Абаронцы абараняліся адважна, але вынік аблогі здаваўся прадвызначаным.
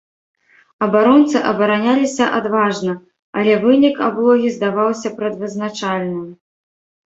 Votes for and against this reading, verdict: 1, 2, rejected